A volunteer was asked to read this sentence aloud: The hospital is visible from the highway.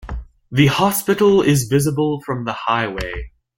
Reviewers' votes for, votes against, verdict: 2, 0, accepted